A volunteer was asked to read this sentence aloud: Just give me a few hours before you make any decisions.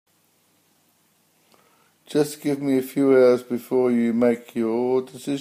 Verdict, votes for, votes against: rejected, 0, 3